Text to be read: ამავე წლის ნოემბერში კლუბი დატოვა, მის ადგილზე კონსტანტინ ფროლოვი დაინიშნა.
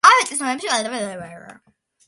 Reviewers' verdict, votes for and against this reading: rejected, 0, 2